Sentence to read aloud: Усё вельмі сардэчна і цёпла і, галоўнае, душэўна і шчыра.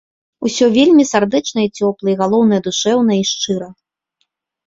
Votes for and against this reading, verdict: 2, 0, accepted